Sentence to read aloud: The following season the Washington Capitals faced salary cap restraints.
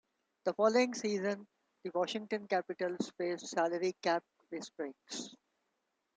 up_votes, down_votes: 1, 2